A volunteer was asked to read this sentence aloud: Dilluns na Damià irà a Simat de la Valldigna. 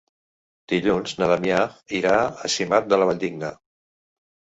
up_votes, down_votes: 2, 0